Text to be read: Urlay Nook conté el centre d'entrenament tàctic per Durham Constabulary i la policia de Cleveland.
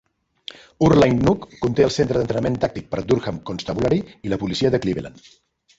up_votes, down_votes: 0, 2